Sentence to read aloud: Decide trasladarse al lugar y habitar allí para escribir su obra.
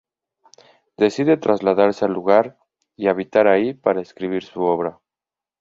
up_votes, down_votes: 0, 2